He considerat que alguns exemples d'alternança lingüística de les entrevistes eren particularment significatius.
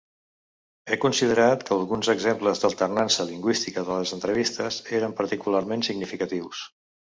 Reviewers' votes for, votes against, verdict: 2, 0, accepted